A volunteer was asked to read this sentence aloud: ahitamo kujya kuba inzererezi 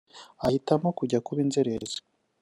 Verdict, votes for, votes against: accepted, 2, 1